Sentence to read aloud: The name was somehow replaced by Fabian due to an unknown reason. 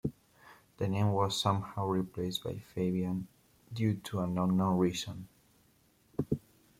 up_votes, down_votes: 2, 0